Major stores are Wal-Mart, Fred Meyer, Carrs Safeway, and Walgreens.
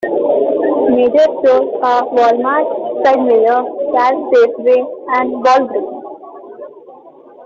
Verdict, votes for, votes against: rejected, 1, 2